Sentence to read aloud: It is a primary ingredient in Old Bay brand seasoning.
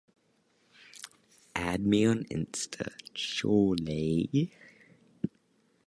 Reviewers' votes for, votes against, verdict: 0, 3, rejected